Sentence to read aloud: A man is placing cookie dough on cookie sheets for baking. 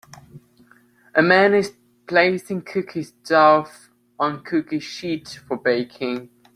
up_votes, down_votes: 2, 0